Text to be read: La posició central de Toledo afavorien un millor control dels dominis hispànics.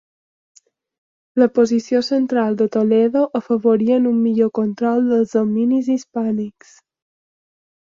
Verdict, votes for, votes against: accepted, 3, 1